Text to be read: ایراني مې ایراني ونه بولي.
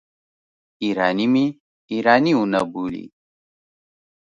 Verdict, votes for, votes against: accepted, 2, 0